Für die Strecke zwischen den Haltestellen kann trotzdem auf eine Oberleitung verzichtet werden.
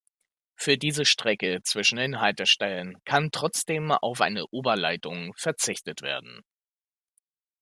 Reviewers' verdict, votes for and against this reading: accepted, 2, 0